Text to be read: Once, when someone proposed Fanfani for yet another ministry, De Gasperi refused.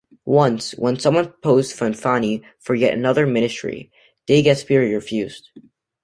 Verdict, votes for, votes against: rejected, 1, 2